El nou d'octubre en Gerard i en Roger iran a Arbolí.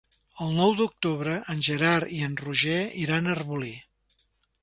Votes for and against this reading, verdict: 3, 0, accepted